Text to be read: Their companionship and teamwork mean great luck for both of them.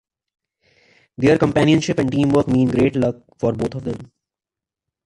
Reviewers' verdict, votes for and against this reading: rejected, 2, 3